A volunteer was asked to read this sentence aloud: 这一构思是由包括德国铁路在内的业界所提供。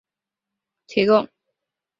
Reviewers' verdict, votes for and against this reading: rejected, 0, 2